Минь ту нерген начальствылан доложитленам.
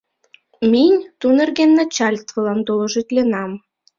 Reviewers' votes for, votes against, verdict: 2, 0, accepted